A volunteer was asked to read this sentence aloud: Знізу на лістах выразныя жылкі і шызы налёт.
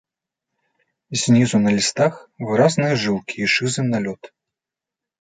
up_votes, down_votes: 2, 0